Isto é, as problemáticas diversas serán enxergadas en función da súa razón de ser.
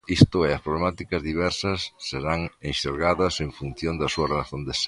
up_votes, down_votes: 2, 1